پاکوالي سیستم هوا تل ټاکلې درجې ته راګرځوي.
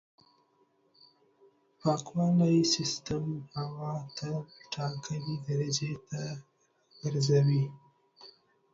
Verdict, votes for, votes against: rejected, 2, 3